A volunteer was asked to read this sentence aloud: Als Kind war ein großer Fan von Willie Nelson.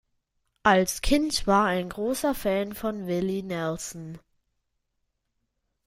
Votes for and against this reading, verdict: 3, 0, accepted